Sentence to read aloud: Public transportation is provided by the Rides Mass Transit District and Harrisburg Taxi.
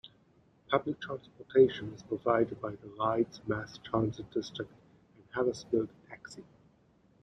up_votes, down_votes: 1, 2